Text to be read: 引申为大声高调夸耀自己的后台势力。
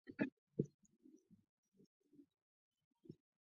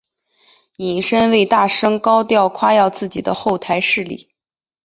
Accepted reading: second